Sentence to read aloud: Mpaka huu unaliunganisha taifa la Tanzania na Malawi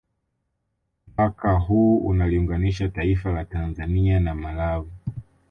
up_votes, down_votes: 2, 1